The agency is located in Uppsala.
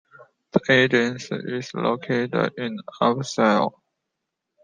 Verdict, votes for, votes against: rejected, 0, 2